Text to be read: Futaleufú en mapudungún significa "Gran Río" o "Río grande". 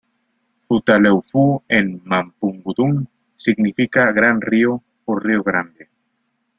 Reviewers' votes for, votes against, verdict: 3, 2, accepted